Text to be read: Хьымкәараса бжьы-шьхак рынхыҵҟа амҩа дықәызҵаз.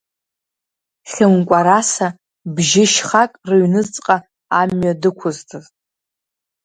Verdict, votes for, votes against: accepted, 2, 1